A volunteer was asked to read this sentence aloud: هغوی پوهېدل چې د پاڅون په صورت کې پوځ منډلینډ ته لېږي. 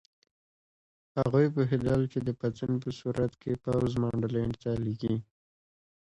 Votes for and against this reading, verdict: 2, 0, accepted